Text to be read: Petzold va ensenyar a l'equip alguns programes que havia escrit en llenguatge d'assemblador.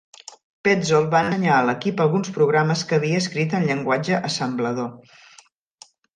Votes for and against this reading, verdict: 0, 2, rejected